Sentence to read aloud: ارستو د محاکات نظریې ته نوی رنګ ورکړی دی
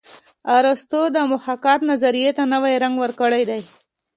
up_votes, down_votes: 2, 0